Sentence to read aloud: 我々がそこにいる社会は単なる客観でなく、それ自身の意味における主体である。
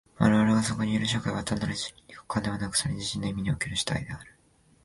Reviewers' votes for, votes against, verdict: 2, 1, accepted